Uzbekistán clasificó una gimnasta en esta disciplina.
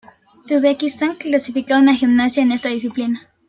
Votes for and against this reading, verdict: 1, 2, rejected